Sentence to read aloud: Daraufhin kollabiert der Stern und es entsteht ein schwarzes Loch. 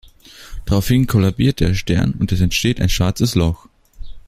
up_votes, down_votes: 3, 0